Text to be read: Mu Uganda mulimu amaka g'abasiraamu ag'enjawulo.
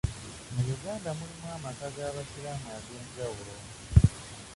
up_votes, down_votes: 0, 2